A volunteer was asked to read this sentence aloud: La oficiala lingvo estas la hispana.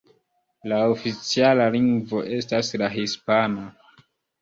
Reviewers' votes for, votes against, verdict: 2, 0, accepted